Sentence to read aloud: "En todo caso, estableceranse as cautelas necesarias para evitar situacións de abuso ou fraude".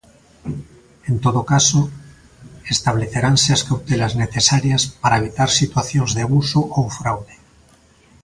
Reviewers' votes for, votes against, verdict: 2, 0, accepted